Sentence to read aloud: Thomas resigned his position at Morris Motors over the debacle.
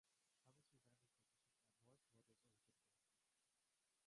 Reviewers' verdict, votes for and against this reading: rejected, 0, 2